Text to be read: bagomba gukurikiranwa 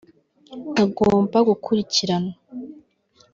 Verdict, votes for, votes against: rejected, 1, 2